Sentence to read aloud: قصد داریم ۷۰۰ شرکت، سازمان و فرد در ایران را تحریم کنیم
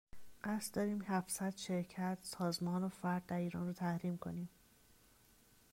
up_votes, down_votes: 0, 2